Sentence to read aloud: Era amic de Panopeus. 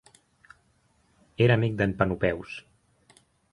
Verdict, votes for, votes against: rejected, 2, 6